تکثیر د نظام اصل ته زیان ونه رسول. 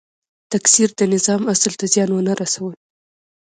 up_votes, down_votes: 2, 0